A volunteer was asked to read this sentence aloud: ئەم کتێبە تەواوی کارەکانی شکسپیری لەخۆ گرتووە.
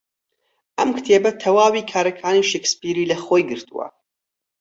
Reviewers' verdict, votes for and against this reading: rejected, 2, 4